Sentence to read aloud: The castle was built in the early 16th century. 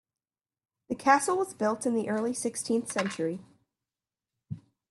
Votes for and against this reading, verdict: 0, 2, rejected